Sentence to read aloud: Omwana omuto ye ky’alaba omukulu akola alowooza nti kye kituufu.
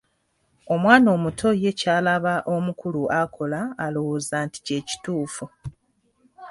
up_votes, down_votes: 2, 0